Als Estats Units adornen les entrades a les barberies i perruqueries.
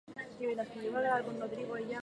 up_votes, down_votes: 2, 4